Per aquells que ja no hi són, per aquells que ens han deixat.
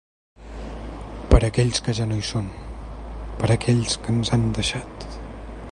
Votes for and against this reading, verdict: 3, 0, accepted